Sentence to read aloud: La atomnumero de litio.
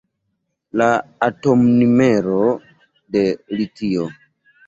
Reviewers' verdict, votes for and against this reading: accepted, 2, 1